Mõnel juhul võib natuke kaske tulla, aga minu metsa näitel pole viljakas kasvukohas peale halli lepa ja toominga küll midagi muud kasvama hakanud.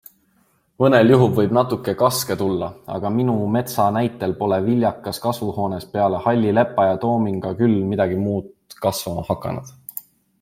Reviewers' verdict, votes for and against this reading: rejected, 0, 2